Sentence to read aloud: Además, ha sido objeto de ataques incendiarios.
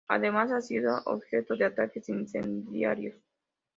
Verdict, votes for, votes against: accepted, 2, 0